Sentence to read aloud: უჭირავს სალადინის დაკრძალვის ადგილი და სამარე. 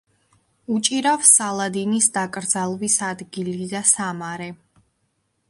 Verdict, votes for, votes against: accepted, 2, 0